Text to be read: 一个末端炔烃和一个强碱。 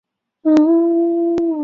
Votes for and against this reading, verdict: 0, 3, rejected